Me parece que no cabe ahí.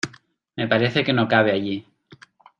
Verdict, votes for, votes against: rejected, 0, 2